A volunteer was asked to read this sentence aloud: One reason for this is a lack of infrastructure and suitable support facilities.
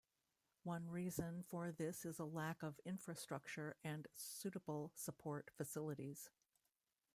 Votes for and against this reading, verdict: 1, 2, rejected